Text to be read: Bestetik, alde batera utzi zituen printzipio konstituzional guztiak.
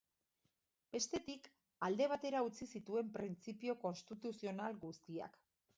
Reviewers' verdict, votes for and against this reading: rejected, 0, 2